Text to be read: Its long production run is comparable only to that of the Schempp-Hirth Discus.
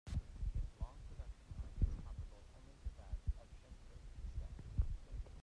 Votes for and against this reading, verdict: 0, 2, rejected